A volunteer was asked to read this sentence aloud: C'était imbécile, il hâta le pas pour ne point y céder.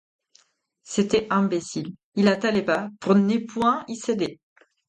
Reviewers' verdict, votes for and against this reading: rejected, 0, 4